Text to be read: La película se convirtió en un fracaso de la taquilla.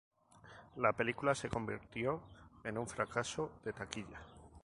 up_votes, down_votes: 0, 2